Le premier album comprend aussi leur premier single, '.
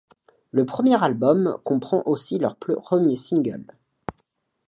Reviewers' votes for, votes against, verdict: 1, 2, rejected